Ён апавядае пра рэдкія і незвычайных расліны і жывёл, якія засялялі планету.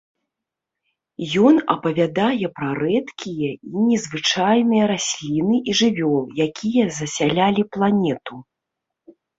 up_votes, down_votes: 1, 2